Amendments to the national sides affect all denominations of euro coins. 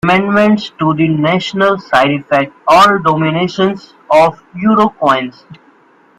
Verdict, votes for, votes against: rejected, 1, 3